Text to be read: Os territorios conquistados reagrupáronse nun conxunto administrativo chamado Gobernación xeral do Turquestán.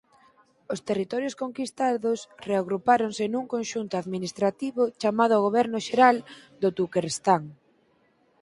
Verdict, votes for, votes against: rejected, 0, 4